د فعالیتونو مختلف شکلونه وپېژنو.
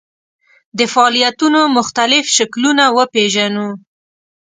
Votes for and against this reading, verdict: 2, 0, accepted